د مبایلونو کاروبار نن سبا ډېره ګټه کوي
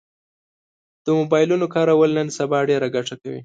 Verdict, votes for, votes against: rejected, 1, 2